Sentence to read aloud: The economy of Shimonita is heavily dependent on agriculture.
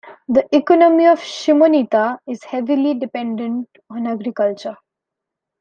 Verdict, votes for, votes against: accepted, 2, 0